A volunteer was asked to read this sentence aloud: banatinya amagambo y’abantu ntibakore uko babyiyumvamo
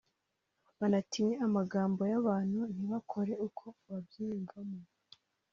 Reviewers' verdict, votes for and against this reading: rejected, 1, 2